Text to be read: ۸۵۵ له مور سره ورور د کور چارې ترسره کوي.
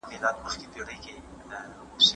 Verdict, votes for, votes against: rejected, 0, 2